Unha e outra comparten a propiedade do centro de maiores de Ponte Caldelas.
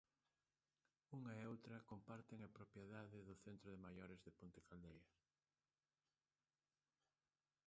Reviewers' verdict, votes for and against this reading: rejected, 0, 2